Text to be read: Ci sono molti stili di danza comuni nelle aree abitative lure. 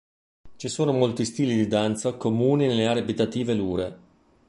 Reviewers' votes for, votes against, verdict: 2, 0, accepted